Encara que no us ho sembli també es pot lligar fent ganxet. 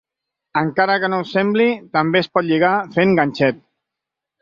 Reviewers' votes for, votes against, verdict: 1, 2, rejected